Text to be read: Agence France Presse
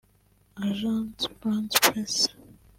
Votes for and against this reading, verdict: 2, 1, accepted